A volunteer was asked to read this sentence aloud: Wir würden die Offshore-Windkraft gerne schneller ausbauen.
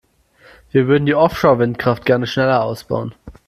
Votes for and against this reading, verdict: 2, 0, accepted